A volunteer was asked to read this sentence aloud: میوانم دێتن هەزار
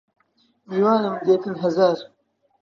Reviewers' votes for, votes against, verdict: 2, 1, accepted